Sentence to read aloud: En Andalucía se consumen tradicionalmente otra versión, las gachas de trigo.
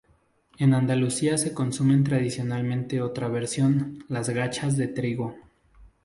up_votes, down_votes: 2, 0